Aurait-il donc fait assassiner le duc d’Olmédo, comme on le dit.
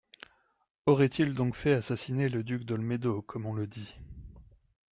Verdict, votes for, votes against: accepted, 2, 0